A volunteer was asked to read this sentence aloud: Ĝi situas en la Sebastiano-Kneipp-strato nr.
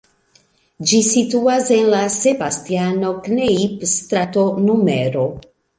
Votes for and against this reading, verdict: 1, 2, rejected